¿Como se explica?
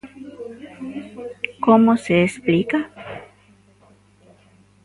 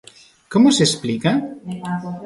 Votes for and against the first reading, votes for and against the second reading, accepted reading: 1, 2, 2, 1, second